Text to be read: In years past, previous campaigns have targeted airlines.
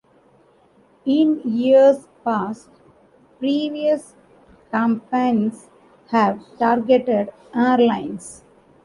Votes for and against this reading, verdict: 2, 3, rejected